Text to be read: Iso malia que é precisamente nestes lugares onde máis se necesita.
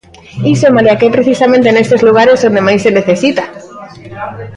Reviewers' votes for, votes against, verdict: 0, 2, rejected